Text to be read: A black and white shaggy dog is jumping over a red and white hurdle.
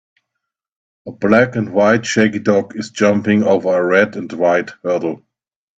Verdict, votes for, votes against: accepted, 2, 0